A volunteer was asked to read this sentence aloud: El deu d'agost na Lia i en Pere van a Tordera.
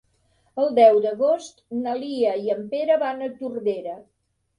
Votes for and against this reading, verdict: 3, 0, accepted